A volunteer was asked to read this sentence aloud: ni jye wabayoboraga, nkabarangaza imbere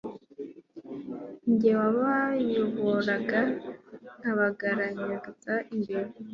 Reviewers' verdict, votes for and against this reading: rejected, 1, 2